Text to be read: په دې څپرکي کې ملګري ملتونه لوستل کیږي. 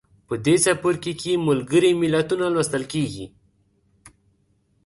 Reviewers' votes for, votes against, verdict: 2, 0, accepted